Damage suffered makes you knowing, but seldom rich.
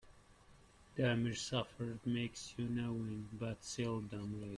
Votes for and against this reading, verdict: 1, 2, rejected